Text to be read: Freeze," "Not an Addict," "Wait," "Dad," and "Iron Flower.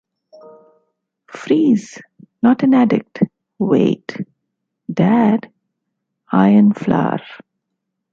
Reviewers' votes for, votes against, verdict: 1, 2, rejected